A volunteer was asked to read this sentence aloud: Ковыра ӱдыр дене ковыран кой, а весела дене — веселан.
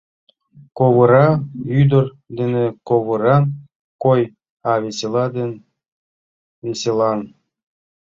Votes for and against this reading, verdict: 0, 3, rejected